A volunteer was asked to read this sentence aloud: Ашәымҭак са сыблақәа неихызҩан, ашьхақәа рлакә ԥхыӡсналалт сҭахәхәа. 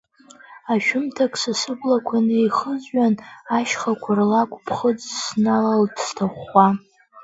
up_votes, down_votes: 1, 2